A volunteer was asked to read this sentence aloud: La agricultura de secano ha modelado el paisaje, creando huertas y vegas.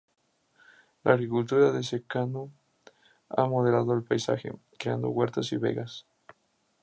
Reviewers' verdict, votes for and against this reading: accepted, 2, 0